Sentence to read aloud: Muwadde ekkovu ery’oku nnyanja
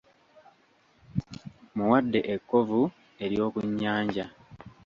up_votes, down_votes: 2, 0